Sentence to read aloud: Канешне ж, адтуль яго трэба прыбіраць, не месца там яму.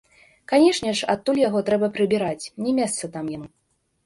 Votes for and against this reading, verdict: 2, 1, accepted